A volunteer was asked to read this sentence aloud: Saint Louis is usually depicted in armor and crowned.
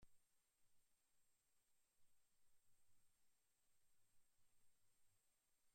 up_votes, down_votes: 0, 2